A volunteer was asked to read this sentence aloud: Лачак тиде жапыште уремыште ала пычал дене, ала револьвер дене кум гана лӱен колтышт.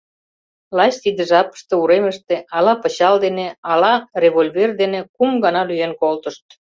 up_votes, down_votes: 0, 2